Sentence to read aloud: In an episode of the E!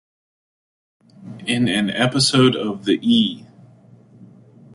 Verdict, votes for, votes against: accepted, 2, 0